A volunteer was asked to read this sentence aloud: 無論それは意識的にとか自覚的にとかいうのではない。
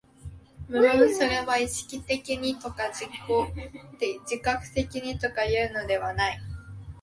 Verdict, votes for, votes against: rejected, 1, 2